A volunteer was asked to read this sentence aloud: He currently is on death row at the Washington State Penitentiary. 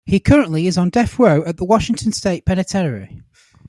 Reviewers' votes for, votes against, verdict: 2, 3, rejected